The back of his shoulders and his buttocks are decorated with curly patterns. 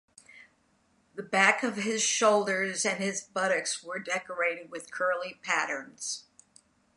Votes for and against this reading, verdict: 1, 2, rejected